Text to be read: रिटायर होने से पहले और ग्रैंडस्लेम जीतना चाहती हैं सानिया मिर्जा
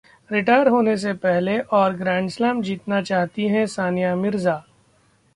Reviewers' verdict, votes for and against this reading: accepted, 2, 0